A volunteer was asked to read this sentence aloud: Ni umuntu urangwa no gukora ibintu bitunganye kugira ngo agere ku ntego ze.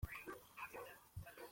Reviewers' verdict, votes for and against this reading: rejected, 0, 2